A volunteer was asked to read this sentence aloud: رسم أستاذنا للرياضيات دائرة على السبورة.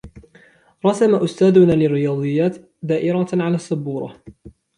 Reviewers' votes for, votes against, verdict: 2, 0, accepted